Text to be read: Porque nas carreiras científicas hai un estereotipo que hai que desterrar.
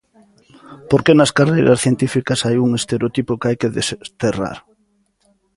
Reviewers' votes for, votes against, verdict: 0, 2, rejected